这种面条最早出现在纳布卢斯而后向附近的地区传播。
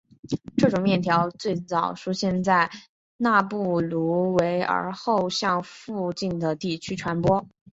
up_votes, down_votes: 3, 0